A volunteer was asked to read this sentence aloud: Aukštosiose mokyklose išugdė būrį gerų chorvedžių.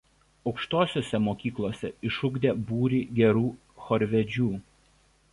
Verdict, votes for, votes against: accepted, 2, 0